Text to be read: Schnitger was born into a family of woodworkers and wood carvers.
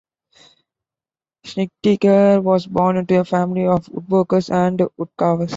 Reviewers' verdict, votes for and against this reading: rejected, 1, 2